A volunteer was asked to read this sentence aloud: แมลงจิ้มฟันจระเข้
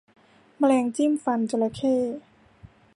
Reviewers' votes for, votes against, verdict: 2, 0, accepted